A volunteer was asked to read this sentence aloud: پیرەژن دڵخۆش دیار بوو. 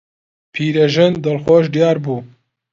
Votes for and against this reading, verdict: 2, 0, accepted